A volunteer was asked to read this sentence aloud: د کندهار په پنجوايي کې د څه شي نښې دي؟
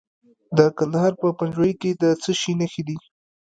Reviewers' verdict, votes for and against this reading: rejected, 1, 2